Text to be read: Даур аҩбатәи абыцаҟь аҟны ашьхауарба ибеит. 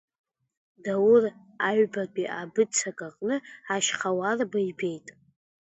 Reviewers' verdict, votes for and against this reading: rejected, 0, 2